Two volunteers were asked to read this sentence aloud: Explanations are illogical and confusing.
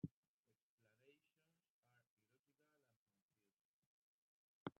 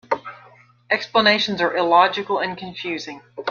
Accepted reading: second